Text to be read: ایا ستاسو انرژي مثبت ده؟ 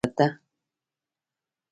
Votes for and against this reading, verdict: 0, 2, rejected